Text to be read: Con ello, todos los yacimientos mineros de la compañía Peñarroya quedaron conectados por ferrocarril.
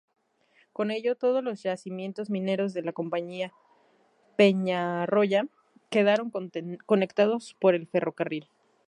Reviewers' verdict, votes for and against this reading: rejected, 0, 2